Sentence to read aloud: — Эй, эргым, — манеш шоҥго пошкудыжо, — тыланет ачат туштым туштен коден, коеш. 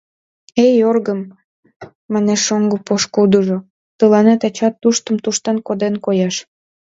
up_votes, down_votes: 0, 2